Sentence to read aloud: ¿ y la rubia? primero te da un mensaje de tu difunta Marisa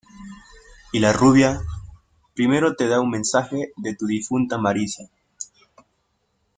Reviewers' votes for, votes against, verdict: 2, 0, accepted